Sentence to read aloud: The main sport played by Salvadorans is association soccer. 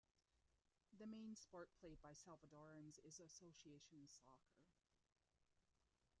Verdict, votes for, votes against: rejected, 0, 2